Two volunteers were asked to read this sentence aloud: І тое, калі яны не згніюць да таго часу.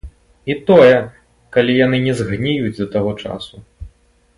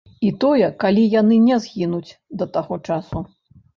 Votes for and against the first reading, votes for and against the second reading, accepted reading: 3, 0, 0, 2, first